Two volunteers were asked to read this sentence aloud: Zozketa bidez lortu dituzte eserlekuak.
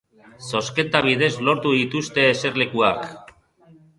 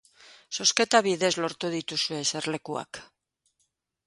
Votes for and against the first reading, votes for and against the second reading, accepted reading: 2, 0, 1, 2, first